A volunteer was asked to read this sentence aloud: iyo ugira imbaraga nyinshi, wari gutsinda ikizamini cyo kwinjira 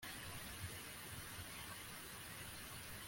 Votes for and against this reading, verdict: 0, 2, rejected